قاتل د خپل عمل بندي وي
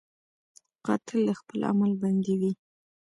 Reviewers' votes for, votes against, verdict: 2, 0, accepted